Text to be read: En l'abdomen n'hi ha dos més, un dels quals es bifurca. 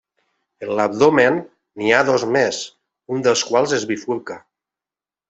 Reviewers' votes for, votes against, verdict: 3, 0, accepted